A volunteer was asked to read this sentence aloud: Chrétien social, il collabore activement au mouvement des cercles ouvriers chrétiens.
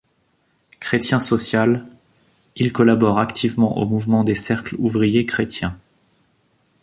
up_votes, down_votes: 2, 0